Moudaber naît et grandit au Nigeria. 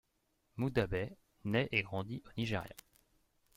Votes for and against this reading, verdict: 0, 2, rejected